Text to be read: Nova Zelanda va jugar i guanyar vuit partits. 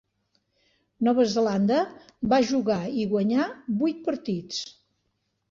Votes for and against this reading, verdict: 3, 0, accepted